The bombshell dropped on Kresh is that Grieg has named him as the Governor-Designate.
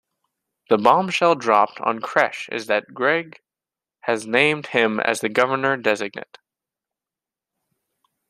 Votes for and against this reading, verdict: 0, 2, rejected